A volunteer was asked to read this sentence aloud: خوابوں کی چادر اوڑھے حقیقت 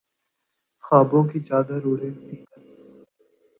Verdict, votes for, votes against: accepted, 2, 0